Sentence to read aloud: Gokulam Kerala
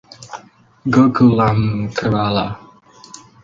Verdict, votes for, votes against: rejected, 2, 2